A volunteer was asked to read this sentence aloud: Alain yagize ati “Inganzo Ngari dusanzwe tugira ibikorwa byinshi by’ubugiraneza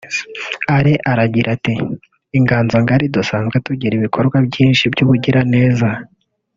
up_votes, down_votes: 0, 2